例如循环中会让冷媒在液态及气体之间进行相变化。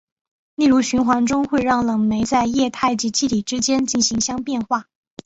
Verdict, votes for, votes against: accepted, 2, 0